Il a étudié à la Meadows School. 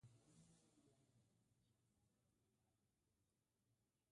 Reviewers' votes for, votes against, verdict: 0, 2, rejected